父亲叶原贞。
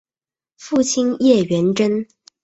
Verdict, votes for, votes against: accepted, 3, 0